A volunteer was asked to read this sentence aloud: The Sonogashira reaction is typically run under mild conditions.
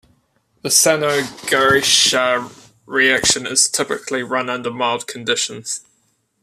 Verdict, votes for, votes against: rejected, 1, 2